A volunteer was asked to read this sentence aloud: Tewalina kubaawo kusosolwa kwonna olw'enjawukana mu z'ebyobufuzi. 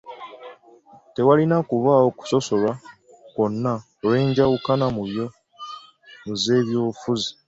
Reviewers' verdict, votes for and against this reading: rejected, 0, 2